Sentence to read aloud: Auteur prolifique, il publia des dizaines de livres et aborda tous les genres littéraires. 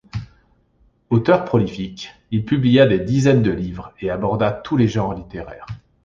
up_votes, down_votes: 2, 0